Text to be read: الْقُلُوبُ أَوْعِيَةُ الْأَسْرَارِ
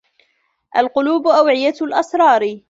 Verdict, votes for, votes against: accepted, 2, 0